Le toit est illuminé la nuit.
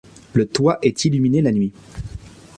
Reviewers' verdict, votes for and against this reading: accepted, 2, 0